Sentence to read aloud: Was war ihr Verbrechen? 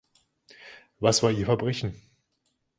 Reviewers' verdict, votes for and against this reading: accepted, 2, 0